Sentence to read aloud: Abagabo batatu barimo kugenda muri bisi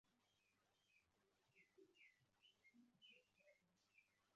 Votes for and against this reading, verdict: 1, 2, rejected